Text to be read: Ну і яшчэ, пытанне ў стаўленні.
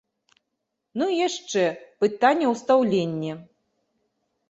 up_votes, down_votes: 1, 2